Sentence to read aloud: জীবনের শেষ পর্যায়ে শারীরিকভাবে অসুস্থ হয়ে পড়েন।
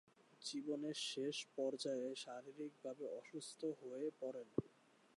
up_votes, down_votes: 0, 2